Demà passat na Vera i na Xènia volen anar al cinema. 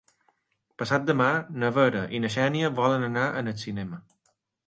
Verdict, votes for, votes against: rejected, 2, 3